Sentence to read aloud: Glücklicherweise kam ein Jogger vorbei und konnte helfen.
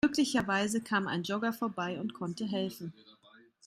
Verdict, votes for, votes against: rejected, 1, 2